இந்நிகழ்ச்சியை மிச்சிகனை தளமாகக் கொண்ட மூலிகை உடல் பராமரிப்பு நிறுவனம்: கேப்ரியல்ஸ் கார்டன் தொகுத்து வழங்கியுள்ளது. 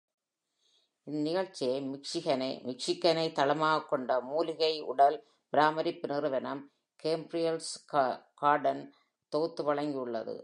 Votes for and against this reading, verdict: 1, 2, rejected